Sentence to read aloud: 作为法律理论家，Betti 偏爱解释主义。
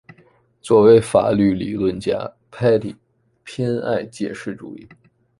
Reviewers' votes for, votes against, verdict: 1, 2, rejected